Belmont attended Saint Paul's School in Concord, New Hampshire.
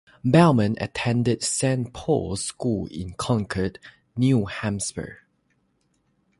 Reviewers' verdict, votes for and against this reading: rejected, 0, 3